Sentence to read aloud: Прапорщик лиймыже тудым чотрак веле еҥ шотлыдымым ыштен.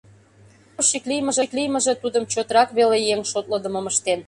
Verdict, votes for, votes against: rejected, 0, 2